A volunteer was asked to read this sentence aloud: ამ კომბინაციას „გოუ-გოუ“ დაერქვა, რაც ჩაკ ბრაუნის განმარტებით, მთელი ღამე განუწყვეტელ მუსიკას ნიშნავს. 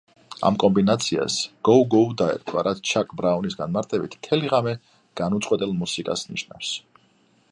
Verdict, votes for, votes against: accepted, 2, 1